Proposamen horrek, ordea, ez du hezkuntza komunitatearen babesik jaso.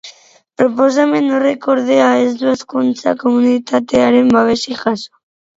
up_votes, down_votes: 4, 0